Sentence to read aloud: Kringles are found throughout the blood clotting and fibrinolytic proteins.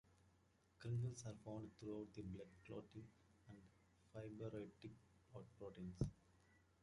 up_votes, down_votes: 1, 2